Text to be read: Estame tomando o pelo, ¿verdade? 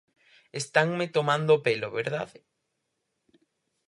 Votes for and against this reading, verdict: 0, 4, rejected